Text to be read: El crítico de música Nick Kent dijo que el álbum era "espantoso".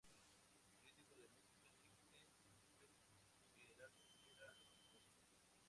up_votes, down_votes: 0, 2